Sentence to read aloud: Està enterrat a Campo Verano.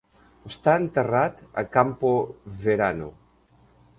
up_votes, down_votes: 0, 2